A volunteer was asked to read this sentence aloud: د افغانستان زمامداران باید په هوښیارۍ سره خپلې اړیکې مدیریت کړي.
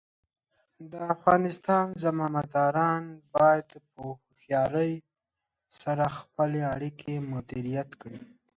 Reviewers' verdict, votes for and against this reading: accepted, 3, 0